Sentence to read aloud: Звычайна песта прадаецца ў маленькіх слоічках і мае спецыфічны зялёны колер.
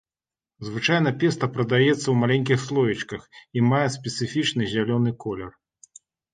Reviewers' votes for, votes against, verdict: 2, 0, accepted